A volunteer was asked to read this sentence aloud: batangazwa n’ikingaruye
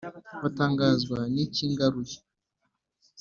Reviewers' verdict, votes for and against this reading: accepted, 2, 0